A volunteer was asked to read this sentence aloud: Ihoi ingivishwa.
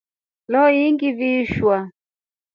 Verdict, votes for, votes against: rejected, 2, 3